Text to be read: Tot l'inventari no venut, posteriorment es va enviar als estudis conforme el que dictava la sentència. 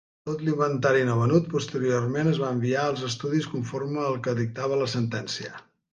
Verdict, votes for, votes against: accepted, 2, 0